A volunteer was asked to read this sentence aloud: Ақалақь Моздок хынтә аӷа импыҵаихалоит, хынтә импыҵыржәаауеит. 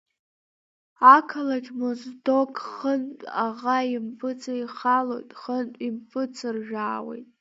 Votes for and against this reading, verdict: 0, 2, rejected